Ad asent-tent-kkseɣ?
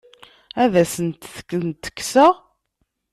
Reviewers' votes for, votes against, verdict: 1, 2, rejected